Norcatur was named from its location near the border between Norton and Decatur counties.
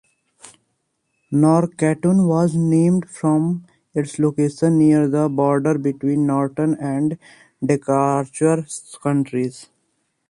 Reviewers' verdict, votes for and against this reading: rejected, 0, 2